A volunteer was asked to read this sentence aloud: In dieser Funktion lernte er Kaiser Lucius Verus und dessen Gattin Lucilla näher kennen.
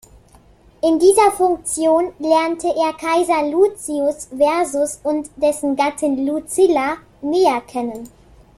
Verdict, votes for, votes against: rejected, 0, 2